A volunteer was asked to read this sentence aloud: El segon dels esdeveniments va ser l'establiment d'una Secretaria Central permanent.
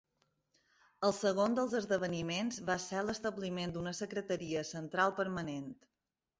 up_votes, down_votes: 2, 0